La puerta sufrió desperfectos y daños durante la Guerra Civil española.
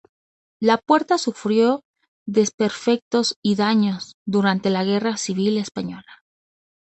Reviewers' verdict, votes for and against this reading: accepted, 2, 0